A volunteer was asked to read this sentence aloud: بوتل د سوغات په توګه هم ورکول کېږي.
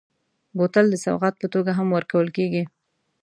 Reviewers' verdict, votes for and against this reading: accepted, 2, 0